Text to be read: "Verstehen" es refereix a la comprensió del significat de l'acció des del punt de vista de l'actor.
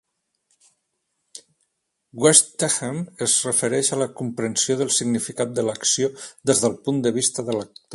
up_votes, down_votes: 2, 3